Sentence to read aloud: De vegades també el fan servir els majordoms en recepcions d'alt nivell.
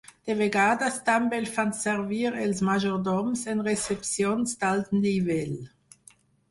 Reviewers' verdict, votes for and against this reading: accepted, 4, 0